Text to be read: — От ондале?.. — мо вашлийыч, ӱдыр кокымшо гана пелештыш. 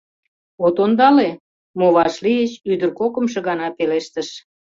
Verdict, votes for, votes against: accepted, 2, 0